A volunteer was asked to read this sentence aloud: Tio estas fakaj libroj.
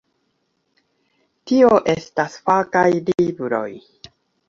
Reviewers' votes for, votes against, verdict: 2, 0, accepted